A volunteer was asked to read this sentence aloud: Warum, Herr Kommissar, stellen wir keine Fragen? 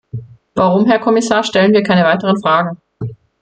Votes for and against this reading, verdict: 1, 2, rejected